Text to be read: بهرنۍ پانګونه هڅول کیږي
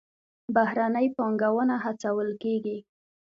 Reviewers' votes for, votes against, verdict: 2, 0, accepted